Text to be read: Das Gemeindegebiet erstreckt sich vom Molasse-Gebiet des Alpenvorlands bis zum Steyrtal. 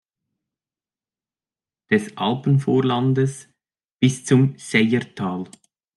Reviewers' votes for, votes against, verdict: 0, 2, rejected